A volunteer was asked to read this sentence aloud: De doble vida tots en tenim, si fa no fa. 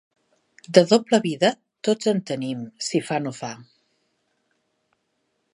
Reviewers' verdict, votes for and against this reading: accepted, 3, 0